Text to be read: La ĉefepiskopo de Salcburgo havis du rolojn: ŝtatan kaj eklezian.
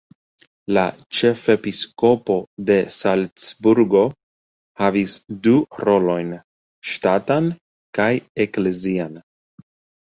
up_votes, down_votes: 2, 1